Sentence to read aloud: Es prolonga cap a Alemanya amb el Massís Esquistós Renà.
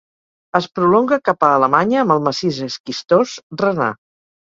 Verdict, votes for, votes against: accepted, 4, 0